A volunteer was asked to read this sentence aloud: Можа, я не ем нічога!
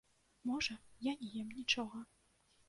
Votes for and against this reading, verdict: 2, 1, accepted